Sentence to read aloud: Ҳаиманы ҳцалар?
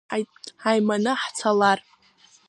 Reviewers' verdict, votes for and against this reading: rejected, 0, 2